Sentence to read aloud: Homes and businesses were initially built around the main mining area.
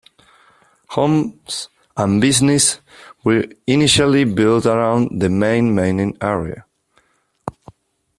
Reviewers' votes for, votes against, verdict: 1, 2, rejected